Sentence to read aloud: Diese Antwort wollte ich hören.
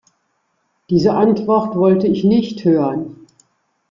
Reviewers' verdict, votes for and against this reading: rejected, 0, 2